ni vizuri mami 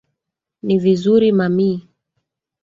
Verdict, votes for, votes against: rejected, 1, 2